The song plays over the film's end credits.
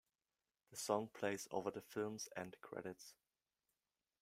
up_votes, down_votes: 2, 1